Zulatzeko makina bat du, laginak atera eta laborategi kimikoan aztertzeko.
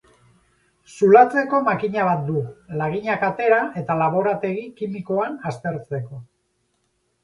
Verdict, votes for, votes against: accepted, 6, 2